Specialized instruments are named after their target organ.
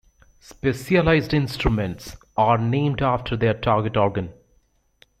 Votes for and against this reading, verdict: 2, 0, accepted